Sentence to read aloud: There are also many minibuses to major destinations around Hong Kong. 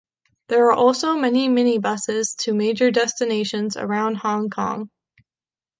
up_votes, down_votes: 2, 0